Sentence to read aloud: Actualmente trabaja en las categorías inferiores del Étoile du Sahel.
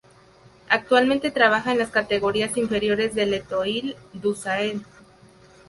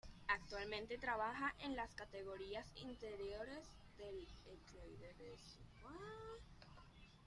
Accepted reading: first